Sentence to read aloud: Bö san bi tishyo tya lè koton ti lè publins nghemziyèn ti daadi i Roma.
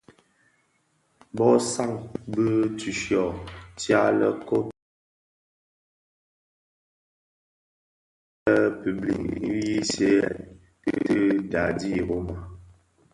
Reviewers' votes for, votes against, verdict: 1, 2, rejected